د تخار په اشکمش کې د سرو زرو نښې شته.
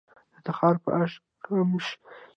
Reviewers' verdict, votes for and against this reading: rejected, 1, 2